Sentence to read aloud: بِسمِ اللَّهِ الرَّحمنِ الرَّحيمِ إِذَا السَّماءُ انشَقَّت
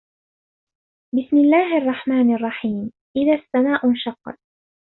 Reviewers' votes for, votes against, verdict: 2, 1, accepted